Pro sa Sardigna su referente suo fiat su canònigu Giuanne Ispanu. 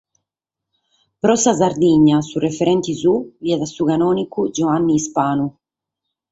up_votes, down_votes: 4, 0